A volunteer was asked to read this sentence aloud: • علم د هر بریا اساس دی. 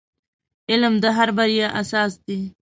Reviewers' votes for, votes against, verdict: 2, 1, accepted